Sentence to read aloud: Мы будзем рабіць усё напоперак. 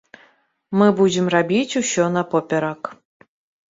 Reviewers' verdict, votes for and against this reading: accepted, 2, 0